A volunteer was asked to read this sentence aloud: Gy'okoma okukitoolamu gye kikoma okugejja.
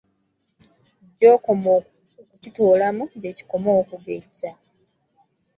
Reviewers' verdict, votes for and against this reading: rejected, 1, 2